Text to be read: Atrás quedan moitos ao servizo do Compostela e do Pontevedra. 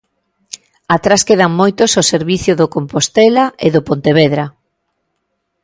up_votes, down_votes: 1, 2